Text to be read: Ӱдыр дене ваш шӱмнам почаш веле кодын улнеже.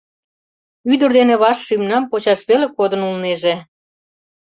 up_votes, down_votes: 2, 0